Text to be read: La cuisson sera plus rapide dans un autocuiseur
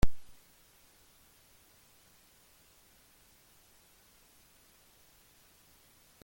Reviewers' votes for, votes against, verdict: 0, 2, rejected